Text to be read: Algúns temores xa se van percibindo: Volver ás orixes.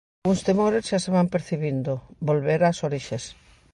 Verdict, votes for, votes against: rejected, 1, 2